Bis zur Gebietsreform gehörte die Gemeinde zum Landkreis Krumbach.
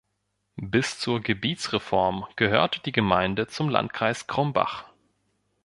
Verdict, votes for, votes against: rejected, 0, 2